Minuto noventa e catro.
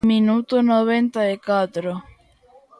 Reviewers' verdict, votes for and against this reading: rejected, 1, 2